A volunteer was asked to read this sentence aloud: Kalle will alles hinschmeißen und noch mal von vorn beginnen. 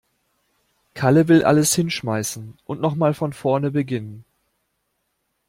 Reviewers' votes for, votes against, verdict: 0, 2, rejected